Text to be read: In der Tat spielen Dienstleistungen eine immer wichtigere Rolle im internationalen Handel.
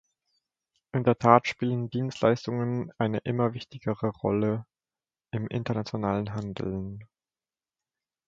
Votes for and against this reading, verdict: 1, 2, rejected